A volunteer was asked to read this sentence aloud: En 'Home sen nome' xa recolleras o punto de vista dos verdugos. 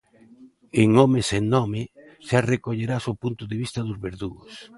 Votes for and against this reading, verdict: 1, 2, rejected